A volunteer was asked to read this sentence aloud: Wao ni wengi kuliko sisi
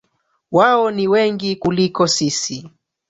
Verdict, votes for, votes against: rejected, 0, 2